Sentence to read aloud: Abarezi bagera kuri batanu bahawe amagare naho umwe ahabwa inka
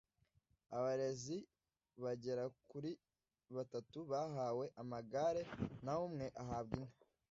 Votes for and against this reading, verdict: 1, 2, rejected